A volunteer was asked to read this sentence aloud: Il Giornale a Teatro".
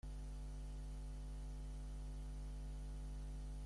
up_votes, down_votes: 1, 2